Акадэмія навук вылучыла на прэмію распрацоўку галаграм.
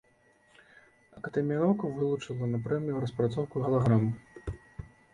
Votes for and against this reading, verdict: 2, 0, accepted